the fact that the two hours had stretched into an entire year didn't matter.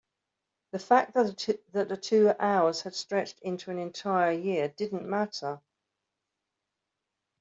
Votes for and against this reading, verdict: 2, 3, rejected